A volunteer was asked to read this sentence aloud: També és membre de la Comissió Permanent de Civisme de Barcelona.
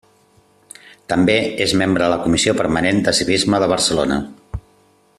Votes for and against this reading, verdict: 2, 1, accepted